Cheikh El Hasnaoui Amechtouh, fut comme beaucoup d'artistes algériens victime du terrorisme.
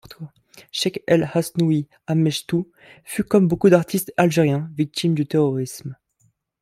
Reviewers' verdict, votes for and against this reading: rejected, 0, 2